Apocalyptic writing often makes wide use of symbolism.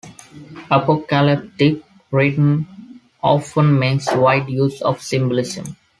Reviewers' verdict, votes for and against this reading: rejected, 1, 2